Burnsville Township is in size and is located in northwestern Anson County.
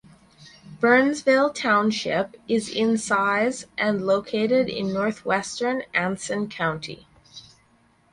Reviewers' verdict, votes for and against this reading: rejected, 0, 4